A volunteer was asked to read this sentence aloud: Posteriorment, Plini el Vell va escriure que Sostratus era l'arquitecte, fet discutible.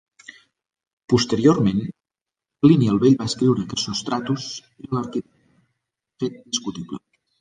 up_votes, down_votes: 0, 2